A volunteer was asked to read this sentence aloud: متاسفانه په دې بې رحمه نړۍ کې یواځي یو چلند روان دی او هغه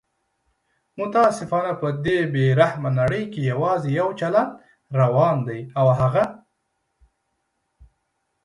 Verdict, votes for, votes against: accepted, 2, 0